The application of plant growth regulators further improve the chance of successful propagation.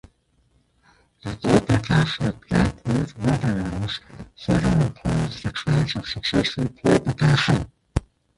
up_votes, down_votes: 0, 2